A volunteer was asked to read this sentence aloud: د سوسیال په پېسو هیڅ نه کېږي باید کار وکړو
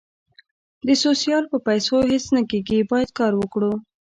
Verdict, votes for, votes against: rejected, 0, 2